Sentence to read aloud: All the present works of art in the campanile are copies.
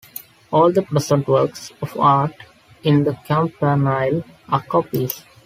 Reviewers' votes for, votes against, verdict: 2, 0, accepted